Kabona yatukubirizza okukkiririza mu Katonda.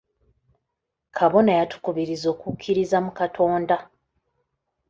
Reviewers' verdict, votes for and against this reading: accepted, 3, 1